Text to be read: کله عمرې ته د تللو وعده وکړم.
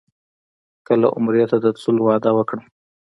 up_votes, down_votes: 2, 1